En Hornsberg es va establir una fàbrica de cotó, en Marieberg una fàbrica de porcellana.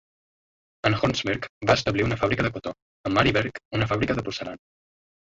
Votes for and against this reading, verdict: 1, 2, rejected